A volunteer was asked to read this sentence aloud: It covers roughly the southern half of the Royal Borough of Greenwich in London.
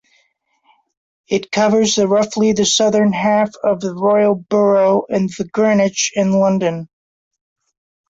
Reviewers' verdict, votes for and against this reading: rejected, 0, 2